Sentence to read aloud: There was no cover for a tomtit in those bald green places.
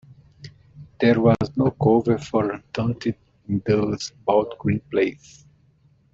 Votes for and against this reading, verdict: 0, 2, rejected